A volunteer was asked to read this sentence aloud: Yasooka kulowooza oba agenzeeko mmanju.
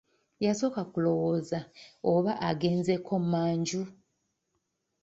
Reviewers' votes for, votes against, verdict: 0, 2, rejected